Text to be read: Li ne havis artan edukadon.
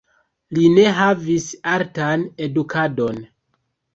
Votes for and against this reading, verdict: 1, 2, rejected